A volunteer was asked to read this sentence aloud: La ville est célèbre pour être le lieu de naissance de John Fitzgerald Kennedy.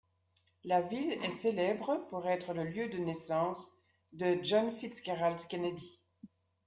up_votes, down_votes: 1, 2